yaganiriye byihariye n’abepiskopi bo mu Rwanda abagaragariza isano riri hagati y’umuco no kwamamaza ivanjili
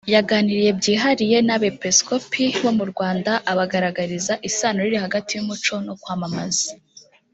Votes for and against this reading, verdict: 0, 2, rejected